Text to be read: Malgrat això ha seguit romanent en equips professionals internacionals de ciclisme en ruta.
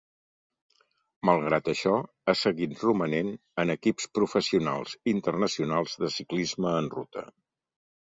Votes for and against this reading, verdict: 2, 0, accepted